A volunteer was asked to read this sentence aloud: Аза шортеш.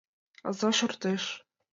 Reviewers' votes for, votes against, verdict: 2, 0, accepted